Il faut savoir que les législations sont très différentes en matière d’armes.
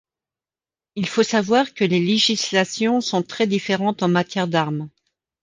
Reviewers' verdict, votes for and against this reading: accepted, 2, 0